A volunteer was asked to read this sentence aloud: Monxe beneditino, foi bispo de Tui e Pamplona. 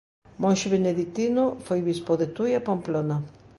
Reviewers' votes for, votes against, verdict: 2, 0, accepted